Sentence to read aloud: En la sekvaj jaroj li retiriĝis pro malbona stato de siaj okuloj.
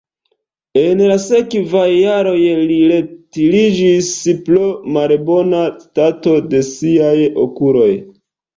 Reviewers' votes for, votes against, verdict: 0, 2, rejected